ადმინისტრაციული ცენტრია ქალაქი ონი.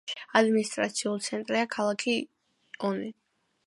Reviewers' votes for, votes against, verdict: 2, 0, accepted